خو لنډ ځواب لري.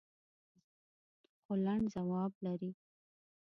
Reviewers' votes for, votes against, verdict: 2, 3, rejected